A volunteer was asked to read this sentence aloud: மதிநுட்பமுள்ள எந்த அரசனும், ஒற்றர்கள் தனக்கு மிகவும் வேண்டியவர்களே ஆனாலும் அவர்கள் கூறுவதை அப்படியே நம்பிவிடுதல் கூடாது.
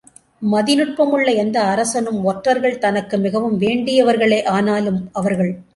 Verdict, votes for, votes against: rejected, 0, 2